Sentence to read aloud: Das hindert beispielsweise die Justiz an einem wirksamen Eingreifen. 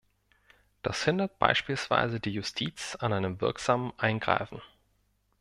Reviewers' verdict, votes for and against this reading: accepted, 2, 0